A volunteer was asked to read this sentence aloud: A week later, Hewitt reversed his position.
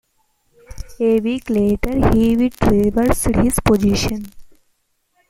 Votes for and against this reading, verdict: 1, 2, rejected